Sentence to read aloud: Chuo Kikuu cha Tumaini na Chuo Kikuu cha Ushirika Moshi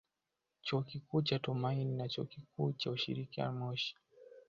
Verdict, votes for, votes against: accepted, 2, 1